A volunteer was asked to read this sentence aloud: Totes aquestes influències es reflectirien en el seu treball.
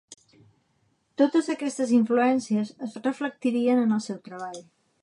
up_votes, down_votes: 3, 0